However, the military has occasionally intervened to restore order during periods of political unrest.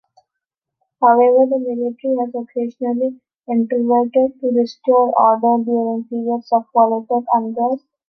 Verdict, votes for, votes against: rejected, 0, 2